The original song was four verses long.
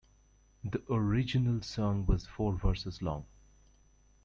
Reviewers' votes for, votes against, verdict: 2, 0, accepted